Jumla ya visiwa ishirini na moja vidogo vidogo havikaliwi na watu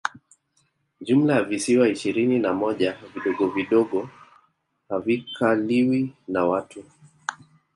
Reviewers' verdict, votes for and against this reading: rejected, 1, 2